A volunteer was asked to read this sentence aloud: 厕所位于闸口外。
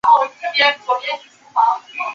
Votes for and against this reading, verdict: 0, 4, rejected